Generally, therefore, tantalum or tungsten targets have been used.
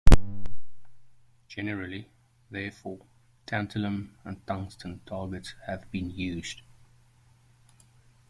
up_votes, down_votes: 2, 0